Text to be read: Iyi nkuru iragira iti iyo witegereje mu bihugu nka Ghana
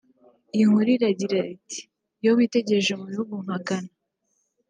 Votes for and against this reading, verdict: 2, 0, accepted